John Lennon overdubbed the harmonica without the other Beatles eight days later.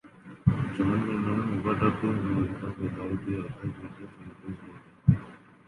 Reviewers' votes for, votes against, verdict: 0, 2, rejected